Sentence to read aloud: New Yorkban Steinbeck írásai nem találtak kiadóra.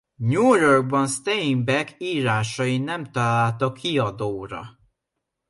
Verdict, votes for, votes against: accepted, 2, 0